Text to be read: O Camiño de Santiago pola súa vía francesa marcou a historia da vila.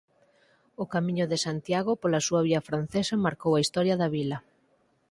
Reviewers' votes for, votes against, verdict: 4, 0, accepted